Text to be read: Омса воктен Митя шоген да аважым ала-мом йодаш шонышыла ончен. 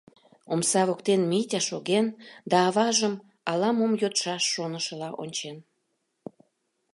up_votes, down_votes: 0, 2